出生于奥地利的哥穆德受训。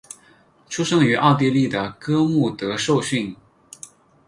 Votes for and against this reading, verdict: 6, 0, accepted